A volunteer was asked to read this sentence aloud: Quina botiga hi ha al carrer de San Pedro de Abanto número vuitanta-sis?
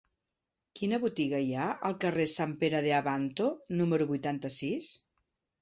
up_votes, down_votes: 0, 2